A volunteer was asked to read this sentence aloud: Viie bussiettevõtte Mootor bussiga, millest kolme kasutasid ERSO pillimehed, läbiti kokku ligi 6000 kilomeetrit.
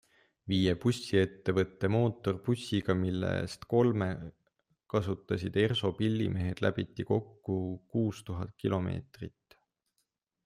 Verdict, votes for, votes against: rejected, 0, 2